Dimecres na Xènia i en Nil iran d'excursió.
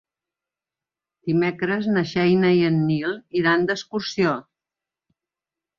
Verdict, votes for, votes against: rejected, 1, 2